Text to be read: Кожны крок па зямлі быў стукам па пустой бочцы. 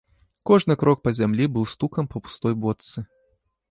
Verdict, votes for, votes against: rejected, 0, 2